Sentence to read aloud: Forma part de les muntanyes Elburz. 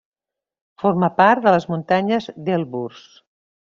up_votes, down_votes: 0, 2